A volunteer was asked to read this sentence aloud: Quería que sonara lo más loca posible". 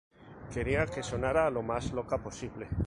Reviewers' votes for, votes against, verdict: 2, 0, accepted